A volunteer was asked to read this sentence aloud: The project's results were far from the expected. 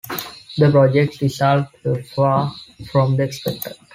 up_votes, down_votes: 1, 2